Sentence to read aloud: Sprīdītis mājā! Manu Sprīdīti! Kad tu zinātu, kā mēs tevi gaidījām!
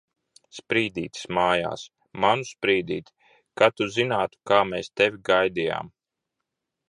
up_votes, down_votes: 0, 2